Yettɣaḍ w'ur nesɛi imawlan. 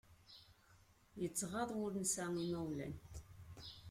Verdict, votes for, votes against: rejected, 0, 2